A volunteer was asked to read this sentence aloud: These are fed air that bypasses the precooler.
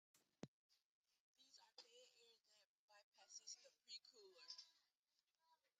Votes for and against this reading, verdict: 0, 2, rejected